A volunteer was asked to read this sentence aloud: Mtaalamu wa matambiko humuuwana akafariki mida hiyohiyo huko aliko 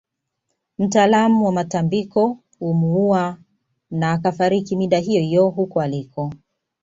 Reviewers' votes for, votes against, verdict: 2, 1, accepted